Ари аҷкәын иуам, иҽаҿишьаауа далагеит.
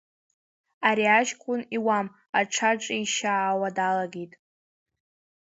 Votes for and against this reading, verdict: 0, 2, rejected